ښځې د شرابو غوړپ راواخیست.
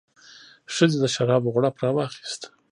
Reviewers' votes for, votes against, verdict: 1, 2, rejected